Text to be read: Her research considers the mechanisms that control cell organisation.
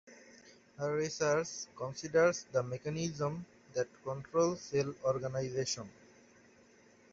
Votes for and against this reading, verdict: 1, 2, rejected